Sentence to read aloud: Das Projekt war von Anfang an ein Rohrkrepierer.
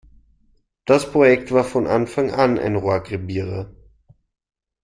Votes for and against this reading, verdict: 0, 2, rejected